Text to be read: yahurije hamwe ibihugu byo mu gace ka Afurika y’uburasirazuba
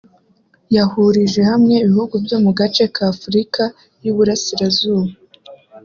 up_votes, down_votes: 2, 0